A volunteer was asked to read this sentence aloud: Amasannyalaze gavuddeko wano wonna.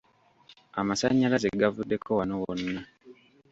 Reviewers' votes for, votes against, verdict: 1, 2, rejected